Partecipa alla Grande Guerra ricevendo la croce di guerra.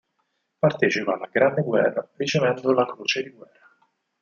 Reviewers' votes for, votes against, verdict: 4, 0, accepted